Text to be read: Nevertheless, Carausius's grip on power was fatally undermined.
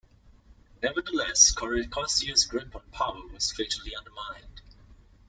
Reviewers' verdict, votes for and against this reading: rejected, 0, 2